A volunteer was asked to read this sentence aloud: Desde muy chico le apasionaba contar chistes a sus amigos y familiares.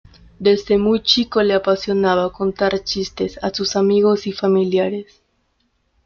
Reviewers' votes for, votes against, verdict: 2, 0, accepted